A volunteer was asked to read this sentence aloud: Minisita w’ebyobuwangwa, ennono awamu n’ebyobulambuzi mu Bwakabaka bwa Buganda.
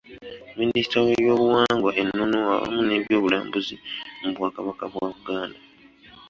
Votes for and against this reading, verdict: 2, 0, accepted